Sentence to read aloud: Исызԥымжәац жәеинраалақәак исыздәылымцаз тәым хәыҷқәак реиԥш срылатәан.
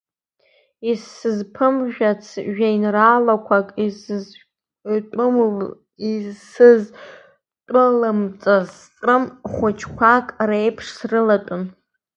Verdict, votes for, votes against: rejected, 0, 2